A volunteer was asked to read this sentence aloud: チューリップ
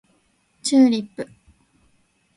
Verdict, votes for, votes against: accepted, 2, 0